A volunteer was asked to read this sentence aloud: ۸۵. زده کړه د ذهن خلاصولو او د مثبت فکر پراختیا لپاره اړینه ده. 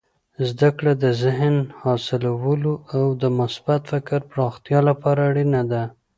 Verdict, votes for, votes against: rejected, 0, 2